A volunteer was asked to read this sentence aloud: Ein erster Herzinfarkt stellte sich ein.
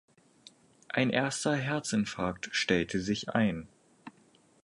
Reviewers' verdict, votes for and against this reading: accepted, 4, 0